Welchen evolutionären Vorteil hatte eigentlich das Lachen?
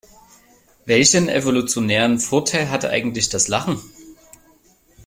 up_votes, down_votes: 2, 0